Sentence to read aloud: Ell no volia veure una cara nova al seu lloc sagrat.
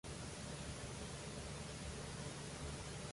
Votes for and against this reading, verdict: 0, 2, rejected